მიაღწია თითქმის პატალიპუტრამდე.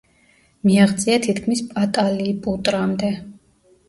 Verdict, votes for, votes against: rejected, 0, 2